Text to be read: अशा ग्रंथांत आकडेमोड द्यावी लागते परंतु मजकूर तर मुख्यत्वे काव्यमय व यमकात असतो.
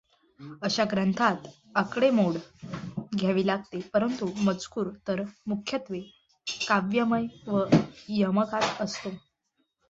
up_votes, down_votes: 1, 2